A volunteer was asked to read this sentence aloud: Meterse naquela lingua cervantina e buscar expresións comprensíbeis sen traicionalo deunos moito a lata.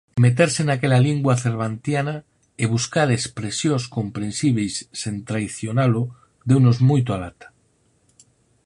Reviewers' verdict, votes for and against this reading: rejected, 0, 4